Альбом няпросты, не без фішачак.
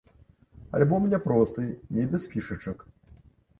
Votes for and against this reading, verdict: 1, 2, rejected